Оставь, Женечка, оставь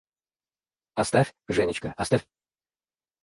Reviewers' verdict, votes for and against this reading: rejected, 0, 4